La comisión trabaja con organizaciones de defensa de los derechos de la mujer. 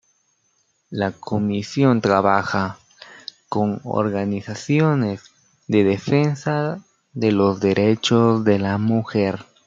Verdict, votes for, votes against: accepted, 2, 0